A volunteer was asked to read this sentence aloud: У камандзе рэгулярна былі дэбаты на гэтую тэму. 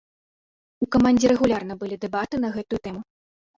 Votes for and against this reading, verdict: 2, 0, accepted